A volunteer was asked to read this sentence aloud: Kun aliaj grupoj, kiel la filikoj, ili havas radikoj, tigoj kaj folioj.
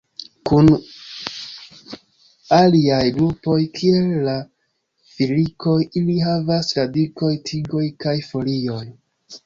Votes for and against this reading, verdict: 0, 2, rejected